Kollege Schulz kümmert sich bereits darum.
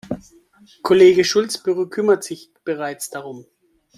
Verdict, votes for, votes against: rejected, 0, 2